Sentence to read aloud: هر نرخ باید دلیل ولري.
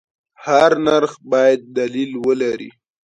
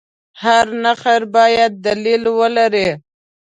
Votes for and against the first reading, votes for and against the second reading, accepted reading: 2, 0, 0, 2, first